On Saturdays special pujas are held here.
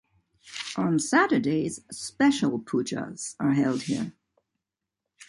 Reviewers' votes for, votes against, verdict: 2, 0, accepted